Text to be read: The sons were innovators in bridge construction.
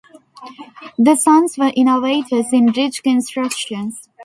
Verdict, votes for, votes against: rejected, 0, 2